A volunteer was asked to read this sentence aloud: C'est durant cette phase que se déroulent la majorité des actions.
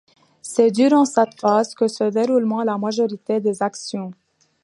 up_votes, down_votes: 2, 1